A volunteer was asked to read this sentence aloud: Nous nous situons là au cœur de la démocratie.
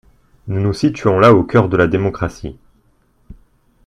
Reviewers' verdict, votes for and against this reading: accepted, 2, 0